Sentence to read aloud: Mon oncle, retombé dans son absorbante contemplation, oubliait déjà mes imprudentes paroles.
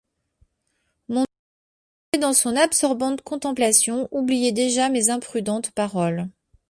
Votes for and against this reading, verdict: 0, 2, rejected